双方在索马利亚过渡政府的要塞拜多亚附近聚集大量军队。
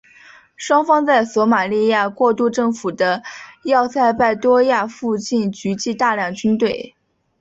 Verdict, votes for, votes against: accepted, 2, 1